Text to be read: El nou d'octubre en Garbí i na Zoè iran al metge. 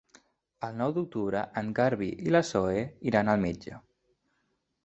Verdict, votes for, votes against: accepted, 2, 1